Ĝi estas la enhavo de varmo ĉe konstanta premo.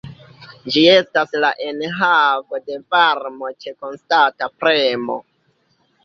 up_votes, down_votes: 1, 2